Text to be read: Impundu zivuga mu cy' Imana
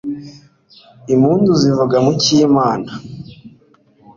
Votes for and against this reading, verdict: 2, 0, accepted